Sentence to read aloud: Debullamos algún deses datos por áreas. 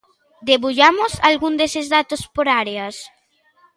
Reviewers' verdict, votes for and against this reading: accepted, 2, 0